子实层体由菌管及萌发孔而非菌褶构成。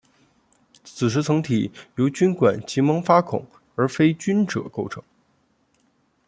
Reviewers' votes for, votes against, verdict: 3, 0, accepted